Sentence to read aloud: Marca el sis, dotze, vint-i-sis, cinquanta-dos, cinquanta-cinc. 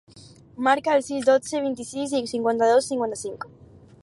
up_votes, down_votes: 4, 0